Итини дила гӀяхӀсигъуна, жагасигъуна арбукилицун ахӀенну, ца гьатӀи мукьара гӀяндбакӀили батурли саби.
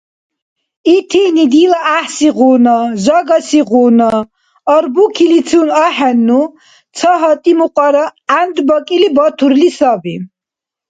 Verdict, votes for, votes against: accepted, 2, 0